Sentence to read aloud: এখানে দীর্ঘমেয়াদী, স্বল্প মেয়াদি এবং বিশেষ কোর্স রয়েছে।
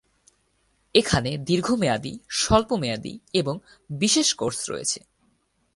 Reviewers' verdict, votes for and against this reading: accepted, 4, 0